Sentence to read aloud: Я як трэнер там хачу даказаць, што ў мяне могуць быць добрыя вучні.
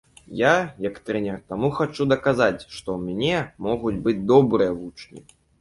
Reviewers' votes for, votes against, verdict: 0, 3, rejected